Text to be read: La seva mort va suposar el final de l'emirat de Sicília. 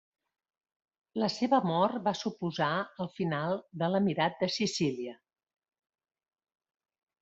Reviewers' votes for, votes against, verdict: 2, 0, accepted